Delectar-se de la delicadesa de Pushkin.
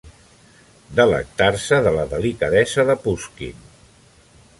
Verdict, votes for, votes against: accepted, 2, 0